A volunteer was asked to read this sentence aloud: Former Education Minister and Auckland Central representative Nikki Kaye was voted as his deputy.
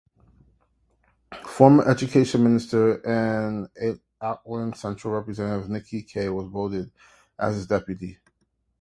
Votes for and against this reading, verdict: 0, 2, rejected